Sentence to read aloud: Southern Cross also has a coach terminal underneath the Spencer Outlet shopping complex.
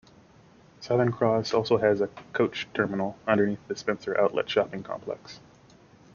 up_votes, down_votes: 2, 0